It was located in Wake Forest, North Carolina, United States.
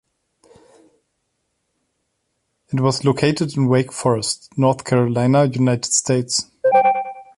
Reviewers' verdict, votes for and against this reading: accepted, 2, 0